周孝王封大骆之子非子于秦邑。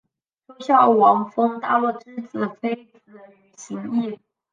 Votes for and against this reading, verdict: 1, 2, rejected